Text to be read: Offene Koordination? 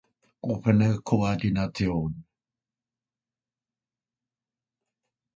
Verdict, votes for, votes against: rejected, 0, 2